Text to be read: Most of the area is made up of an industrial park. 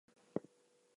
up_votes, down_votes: 0, 2